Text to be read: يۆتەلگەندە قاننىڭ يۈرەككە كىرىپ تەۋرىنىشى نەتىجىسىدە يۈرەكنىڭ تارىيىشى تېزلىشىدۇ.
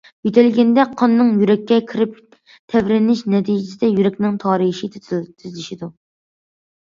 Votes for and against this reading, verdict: 0, 2, rejected